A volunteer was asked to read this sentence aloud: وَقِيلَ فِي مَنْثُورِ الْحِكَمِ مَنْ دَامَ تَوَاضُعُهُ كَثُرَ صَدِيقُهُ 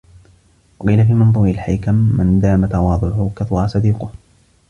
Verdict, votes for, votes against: rejected, 1, 2